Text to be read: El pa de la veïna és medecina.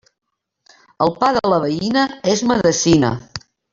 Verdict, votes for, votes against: rejected, 1, 2